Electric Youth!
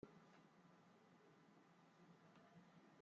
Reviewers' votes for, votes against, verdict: 0, 2, rejected